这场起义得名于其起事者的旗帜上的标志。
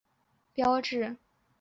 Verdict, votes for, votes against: rejected, 0, 3